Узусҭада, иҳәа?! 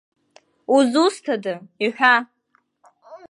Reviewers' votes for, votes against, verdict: 2, 1, accepted